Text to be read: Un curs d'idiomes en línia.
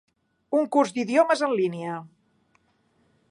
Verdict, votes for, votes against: accepted, 4, 0